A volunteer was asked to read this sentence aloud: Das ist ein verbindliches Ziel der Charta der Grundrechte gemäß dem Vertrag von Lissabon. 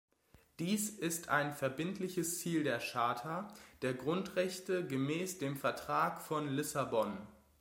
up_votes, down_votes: 1, 2